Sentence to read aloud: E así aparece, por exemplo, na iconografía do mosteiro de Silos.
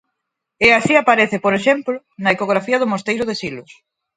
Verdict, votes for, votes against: rejected, 0, 4